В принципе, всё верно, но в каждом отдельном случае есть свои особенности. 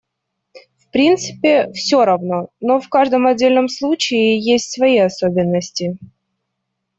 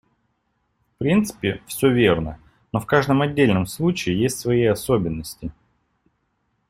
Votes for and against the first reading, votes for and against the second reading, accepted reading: 0, 2, 2, 0, second